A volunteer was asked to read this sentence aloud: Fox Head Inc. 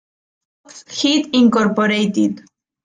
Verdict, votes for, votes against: rejected, 1, 2